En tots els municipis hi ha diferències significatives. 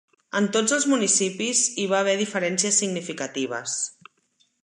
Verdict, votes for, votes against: rejected, 1, 2